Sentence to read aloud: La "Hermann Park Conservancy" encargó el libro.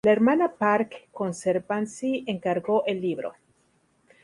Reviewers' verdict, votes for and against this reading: rejected, 0, 2